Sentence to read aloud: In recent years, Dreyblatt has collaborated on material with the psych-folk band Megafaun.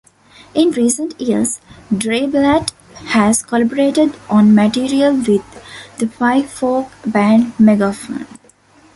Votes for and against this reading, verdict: 0, 2, rejected